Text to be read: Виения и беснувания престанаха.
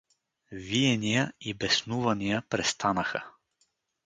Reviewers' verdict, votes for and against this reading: accepted, 2, 0